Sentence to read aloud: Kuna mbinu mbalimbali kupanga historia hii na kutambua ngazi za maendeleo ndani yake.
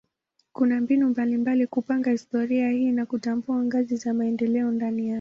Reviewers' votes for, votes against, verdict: 1, 2, rejected